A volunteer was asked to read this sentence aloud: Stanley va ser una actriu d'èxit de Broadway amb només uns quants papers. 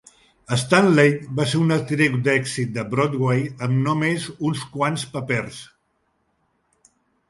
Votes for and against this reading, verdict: 2, 0, accepted